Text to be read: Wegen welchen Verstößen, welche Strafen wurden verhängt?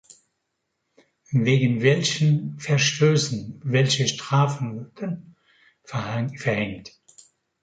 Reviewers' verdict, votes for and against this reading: rejected, 0, 3